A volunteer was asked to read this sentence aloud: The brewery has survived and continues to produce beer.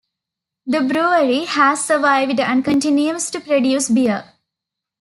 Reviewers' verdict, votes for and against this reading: rejected, 0, 2